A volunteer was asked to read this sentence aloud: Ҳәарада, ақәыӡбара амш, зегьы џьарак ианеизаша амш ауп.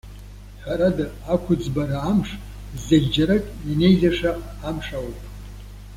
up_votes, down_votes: 2, 0